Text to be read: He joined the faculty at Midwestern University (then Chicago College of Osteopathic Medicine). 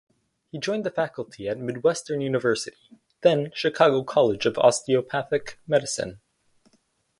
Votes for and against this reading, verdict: 4, 2, accepted